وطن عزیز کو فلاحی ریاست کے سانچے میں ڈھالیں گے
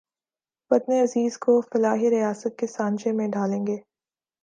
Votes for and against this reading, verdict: 5, 0, accepted